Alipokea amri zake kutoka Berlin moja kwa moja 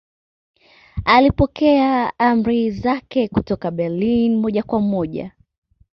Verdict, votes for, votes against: accepted, 2, 0